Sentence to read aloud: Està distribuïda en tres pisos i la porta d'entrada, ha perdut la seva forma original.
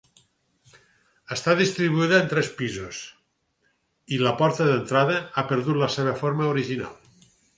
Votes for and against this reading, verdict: 4, 0, accepted